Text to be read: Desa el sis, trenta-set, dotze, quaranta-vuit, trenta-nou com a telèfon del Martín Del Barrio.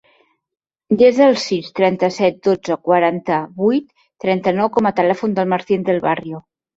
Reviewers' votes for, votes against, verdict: 2, 0, accepted